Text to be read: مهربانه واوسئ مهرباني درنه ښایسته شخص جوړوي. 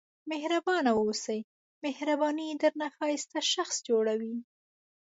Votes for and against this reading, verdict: 3, 0, accepted